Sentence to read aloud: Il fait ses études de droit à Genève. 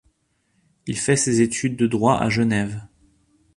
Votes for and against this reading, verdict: 2, 0, accepted